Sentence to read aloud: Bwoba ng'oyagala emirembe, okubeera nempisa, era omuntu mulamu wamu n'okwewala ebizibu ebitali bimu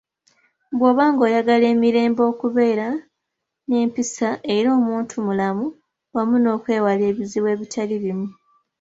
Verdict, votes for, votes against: accepted, 2, 0